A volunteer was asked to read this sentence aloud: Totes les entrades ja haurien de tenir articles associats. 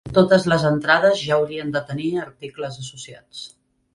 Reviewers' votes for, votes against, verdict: 1, 2, rejected